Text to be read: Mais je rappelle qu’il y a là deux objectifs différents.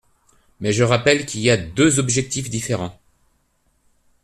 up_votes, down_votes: 0, 2